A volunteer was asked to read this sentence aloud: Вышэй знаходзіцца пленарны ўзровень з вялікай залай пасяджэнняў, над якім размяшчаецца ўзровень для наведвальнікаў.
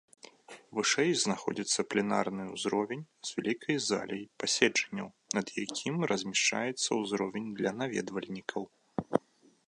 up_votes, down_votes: 1, 2